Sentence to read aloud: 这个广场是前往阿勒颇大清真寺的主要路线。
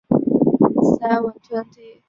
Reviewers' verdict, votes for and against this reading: rejected, 0, 2